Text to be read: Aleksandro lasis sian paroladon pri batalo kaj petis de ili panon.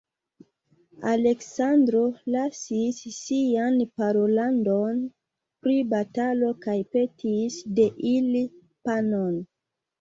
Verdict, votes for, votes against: rejected, 0, 2